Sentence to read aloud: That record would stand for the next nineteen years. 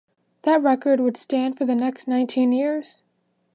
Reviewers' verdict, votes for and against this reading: accepted, 2, 0